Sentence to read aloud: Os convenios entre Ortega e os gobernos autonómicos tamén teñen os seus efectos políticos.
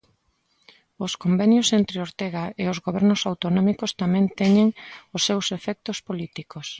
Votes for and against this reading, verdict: 2, 0, accepted